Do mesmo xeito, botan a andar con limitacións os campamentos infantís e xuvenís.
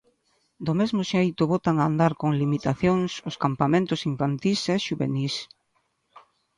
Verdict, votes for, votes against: accepted, 2, 0